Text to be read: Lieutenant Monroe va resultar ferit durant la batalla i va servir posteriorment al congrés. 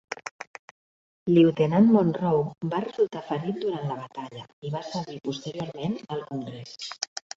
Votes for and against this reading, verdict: 2, 1, accepted